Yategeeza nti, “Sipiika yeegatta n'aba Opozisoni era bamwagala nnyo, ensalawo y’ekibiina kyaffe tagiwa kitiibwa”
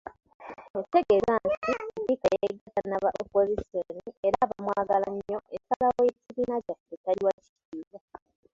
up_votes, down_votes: 0, 2